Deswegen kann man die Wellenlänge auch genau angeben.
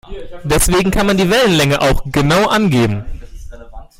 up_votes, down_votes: 2, 0